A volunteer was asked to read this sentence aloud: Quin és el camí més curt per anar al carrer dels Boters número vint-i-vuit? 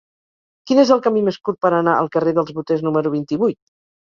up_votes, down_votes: 4, 0